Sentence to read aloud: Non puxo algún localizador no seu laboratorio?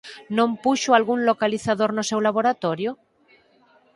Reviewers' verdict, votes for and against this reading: accepted, 6, 0